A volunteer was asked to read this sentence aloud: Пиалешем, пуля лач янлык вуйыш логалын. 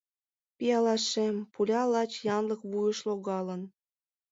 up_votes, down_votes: 1, 2